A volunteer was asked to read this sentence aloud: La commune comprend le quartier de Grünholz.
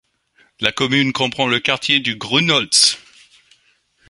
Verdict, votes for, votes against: accepted, 2, 1